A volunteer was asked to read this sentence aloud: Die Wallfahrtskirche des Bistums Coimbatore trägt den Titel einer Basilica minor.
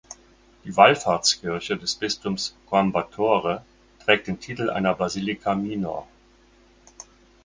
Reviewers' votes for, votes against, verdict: 4, 0, accepted